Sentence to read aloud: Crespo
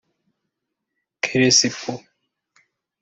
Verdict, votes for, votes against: rejected, 1, 2